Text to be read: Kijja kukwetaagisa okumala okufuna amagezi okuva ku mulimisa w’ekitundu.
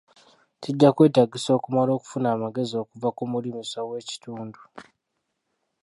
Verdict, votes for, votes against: rejected, 0, 2